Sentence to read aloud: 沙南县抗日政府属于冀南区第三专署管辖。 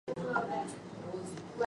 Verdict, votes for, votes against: rejected, 2, 3